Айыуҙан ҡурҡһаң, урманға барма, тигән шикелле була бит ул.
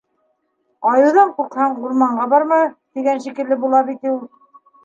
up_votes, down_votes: 1, 2